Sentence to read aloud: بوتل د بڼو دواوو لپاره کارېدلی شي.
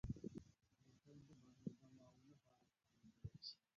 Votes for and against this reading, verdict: 1, 2, rejected